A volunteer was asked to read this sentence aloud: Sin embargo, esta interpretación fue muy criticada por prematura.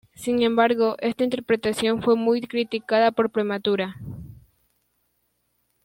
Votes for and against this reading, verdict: 2, 0, accepted